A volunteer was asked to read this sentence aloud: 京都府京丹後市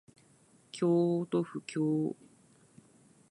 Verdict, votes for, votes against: rejected, 0, 2